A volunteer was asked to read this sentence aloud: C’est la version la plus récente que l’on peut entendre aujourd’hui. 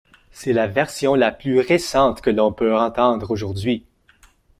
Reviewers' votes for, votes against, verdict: 2, 1, accepted